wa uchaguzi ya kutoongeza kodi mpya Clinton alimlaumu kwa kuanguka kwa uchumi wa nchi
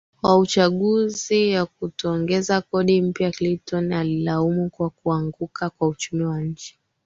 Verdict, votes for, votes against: rejected, 2, 3